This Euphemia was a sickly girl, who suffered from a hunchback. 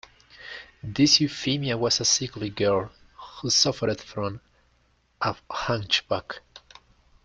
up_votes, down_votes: 0, 2